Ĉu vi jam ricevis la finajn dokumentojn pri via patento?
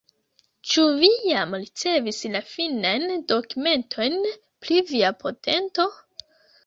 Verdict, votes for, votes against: accepted, 2, 1